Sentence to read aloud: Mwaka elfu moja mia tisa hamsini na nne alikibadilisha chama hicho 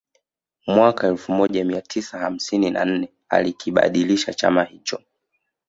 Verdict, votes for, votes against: accepted, 2, 0